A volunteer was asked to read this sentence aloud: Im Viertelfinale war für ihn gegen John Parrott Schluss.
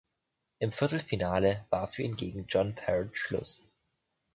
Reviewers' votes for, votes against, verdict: 2, 0, accepted